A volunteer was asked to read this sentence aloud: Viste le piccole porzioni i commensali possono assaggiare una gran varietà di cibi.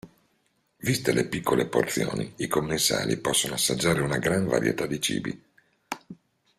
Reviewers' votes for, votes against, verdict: 2, 0, accepted